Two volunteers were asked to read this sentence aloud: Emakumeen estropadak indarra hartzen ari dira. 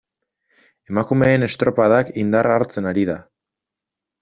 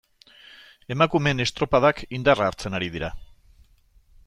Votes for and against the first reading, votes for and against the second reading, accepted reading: 0, 2, 2, 0, second